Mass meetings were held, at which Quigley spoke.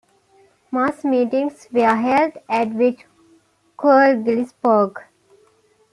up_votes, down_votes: 0, 2